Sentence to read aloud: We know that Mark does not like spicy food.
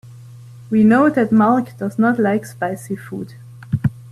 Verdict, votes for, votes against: accepted, 2, 0